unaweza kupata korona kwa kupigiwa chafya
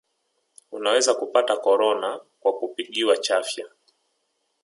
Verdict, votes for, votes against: accepted, 3, 0